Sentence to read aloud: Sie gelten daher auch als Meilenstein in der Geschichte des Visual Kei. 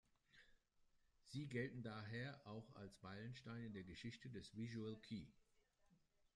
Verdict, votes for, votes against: accepted, 2, 1